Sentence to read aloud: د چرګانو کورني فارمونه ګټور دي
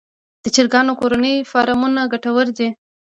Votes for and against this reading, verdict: 1, 2, rejected